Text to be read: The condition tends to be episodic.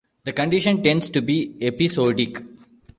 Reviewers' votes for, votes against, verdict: 1, 2, rejected